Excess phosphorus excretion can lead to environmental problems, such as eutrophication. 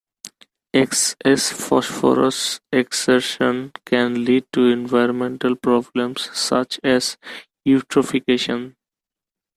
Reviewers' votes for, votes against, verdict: 0, 2, rejected